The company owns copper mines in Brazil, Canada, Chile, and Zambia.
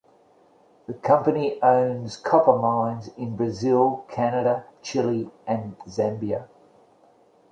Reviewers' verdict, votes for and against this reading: accepted, 2, 0